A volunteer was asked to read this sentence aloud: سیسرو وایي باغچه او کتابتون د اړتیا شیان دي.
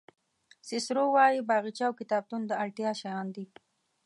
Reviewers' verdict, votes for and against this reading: accepted, 2, 0